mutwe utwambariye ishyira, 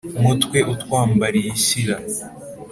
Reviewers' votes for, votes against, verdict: 3, 0, accepted